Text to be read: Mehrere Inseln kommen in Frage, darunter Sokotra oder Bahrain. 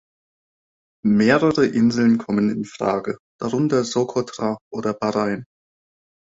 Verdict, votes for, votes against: accepted, 3, 0